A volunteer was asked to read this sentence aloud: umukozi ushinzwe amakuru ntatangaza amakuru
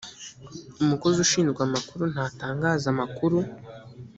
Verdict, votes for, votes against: accepted, 2, 0